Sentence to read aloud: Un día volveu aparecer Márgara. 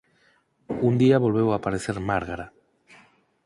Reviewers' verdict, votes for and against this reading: accepted, 4, 0